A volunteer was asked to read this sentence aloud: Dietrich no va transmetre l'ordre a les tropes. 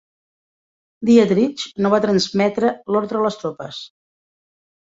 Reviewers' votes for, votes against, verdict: 3, 0, accepted